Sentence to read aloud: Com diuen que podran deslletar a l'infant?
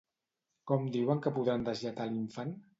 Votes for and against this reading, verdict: 2, 0, accepted